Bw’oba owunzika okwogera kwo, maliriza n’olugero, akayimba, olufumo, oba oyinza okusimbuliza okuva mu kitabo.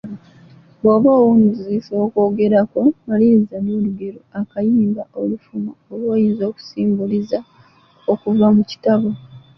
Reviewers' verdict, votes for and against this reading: accepted, 2, 1